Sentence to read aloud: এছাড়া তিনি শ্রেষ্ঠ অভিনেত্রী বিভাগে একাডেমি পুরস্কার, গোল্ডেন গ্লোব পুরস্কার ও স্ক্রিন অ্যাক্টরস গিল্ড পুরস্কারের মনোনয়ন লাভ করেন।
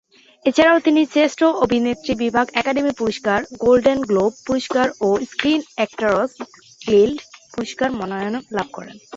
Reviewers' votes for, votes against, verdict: 2, 2, rejected